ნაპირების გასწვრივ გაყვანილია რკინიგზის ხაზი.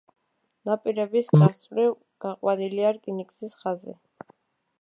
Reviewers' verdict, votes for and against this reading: rejected, 1, 2